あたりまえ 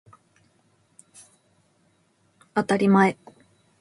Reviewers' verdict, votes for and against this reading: rejected, 2, 3